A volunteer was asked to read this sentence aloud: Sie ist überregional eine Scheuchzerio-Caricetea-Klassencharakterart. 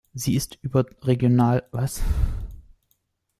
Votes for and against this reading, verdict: 0, 2, rejected